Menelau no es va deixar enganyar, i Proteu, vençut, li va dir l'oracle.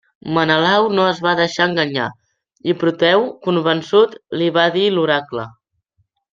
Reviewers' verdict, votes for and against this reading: rejected, 0, 2